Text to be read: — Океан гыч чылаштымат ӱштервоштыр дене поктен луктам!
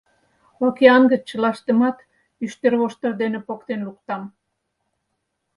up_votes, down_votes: 4, 0